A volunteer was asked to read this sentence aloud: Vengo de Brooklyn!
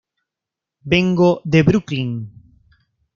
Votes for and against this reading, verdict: 2, 0, accepted